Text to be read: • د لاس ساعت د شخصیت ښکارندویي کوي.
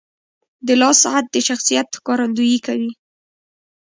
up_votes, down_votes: 1, 2